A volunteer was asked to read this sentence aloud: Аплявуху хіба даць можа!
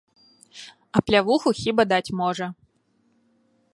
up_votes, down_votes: 2, 0